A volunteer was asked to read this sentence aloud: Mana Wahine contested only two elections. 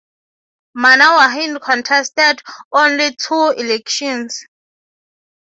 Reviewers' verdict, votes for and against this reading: accepted, 6, 3